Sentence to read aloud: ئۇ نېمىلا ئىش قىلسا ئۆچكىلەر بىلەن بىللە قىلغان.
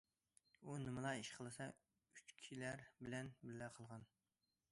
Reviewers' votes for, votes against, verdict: 0, 2, rejected